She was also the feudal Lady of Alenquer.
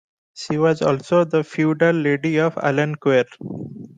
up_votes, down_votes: 2, 0